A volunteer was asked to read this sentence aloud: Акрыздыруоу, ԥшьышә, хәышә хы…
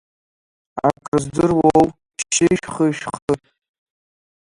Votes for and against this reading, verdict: 1, 2, rejected